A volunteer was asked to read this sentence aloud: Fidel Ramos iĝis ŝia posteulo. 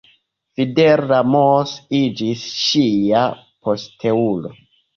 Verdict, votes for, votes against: rejected, 0, 2